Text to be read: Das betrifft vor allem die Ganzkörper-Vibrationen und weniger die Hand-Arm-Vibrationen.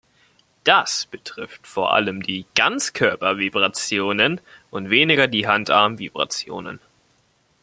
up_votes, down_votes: 2, 0